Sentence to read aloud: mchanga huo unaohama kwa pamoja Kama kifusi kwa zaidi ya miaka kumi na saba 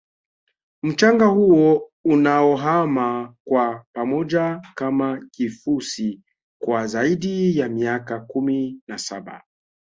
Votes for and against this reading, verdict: 2, 1, accepted